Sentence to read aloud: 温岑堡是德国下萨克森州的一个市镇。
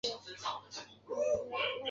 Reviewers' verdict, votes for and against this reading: rejected, 1, 2